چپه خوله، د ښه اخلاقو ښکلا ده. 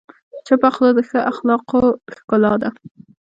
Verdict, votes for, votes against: accepted, 2, 1